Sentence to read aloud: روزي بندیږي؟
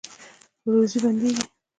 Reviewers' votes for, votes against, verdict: 2, 0, accepted